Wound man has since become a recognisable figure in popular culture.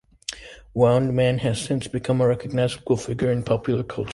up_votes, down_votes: 0, 2